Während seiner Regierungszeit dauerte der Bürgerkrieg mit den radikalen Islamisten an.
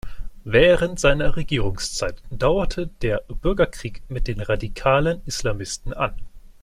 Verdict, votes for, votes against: accepted, 2, 0